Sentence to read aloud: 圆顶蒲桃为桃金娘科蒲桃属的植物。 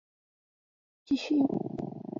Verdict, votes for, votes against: rejected, 0, 4